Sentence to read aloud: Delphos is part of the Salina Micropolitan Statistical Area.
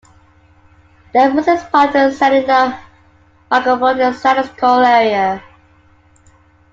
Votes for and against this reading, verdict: 0, 2, rejected